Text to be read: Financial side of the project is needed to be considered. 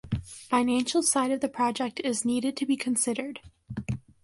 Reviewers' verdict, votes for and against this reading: accepted, 2, 0